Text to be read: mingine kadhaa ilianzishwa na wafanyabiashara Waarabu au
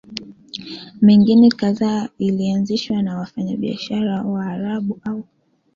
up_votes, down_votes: 2, 1